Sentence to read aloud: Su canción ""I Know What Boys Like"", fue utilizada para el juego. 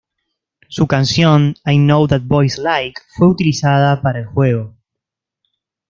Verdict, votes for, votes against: accepted, 2, 0